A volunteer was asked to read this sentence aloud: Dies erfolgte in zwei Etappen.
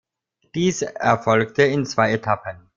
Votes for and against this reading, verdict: 0, 2, rejected